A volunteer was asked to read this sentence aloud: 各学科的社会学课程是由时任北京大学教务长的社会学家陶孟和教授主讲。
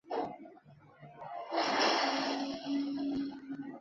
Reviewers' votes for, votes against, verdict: 2, 1, accepted